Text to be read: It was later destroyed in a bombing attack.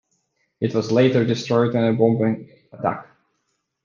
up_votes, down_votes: 2, 1